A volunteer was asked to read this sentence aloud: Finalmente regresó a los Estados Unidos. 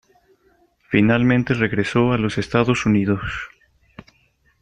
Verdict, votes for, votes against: accepted, 2, 0